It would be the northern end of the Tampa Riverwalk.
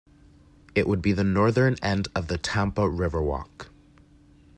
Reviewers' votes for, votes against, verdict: 2, 0, accepted